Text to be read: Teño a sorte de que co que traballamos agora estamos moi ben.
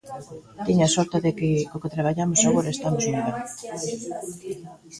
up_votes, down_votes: 1, 2